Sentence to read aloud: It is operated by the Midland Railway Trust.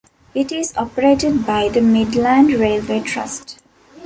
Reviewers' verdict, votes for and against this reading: accepted, 2, 0